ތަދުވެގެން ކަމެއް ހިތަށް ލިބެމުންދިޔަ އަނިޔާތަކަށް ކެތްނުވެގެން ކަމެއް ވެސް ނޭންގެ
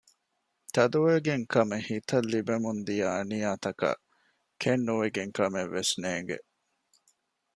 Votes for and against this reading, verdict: 2, 0, accepted